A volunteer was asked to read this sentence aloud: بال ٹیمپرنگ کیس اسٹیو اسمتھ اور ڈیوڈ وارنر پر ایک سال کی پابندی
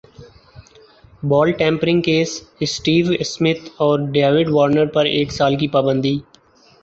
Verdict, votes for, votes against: accepted, 3, 1